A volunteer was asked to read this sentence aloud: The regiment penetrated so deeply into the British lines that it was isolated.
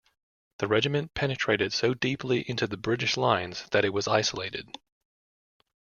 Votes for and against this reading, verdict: 2, 0, accepted